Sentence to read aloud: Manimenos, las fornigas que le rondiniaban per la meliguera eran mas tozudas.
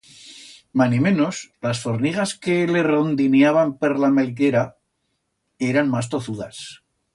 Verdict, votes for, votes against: rejected, 1, 2